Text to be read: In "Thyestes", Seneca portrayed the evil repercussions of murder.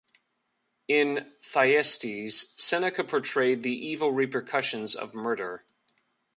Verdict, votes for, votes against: accepted, 2, 0